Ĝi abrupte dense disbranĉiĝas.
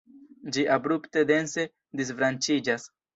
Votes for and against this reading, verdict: 1, 2, rejected